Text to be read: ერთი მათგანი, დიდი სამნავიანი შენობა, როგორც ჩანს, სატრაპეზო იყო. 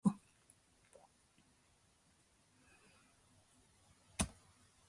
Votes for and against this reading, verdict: 0, 2, rejected